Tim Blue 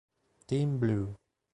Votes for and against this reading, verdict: 2, 0, accepted